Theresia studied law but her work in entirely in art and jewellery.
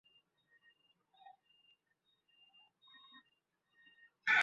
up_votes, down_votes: 0, 2